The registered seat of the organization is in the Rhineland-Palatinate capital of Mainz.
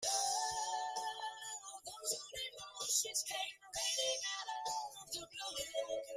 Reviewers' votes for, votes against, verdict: 0, 2, rejected